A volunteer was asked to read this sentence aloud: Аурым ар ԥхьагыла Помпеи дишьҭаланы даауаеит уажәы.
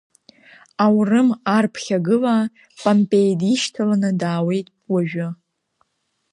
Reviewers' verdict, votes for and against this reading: accepted, 2, 0